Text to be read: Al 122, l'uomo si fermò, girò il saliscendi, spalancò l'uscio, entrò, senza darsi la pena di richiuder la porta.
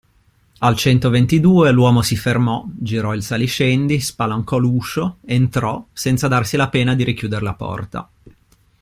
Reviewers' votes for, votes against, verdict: 0, 2, rejected